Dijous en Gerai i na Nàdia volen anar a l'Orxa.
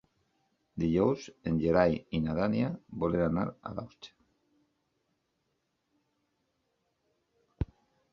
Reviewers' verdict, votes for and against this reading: rejected, 0, 3